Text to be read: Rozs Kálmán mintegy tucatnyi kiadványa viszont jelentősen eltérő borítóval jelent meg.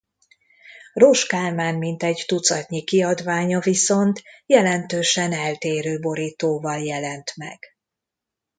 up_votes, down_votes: 2, 0